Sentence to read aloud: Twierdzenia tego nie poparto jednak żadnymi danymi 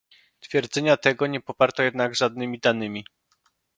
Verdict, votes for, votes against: accepted, 2, 0